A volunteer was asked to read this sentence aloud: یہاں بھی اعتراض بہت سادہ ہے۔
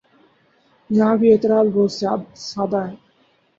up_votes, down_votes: 2, 2